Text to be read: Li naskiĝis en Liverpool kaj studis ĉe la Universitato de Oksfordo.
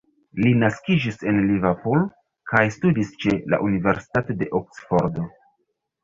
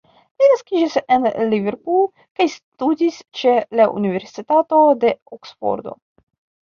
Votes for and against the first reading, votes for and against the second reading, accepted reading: 3, 1, 0, 2, first